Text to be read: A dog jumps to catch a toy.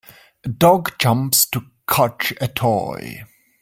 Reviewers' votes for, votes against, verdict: 0, 2, rejected